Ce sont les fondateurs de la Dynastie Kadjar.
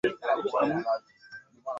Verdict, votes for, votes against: rejected, 0, 2